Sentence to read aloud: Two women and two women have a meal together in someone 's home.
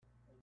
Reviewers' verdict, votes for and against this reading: rejected, 0, 2